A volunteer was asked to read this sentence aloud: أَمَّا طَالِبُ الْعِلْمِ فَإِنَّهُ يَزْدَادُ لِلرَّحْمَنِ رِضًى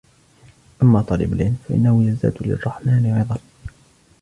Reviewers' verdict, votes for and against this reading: accepted, 2, 0